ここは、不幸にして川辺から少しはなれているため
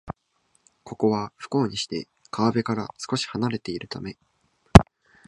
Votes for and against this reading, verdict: 2, 0, accepted